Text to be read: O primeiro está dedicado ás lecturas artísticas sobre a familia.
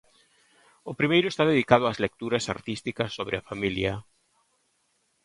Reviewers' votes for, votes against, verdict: 2, 1, accepted